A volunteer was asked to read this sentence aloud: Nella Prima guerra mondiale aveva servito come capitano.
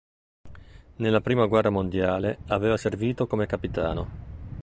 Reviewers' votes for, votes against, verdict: 2, 0, accepted